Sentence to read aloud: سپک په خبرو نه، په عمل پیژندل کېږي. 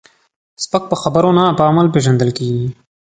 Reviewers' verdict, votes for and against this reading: accepted, 2, 0